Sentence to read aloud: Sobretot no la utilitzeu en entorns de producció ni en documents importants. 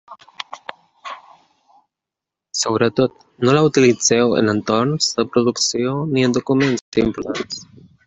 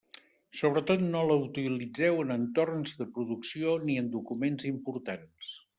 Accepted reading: second